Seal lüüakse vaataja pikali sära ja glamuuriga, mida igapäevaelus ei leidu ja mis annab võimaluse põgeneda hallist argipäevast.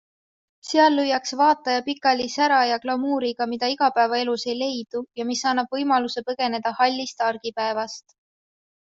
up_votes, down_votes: 2, 0